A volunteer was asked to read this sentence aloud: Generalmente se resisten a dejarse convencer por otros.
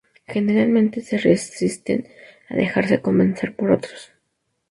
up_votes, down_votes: 0, 2